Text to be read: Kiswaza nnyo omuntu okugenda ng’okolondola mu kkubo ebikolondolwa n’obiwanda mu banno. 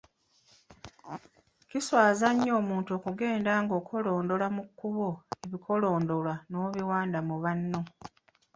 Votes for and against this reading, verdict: 1, 2, rejected